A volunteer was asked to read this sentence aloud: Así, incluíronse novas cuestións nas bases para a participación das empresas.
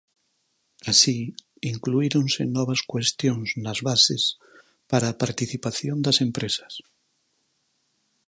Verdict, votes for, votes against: accepted, 4, 0